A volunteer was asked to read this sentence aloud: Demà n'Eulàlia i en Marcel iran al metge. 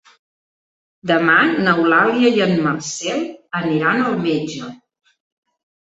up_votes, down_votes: 0, 2